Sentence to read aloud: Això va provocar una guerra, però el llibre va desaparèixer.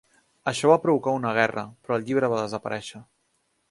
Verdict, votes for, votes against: accepted, 3, 0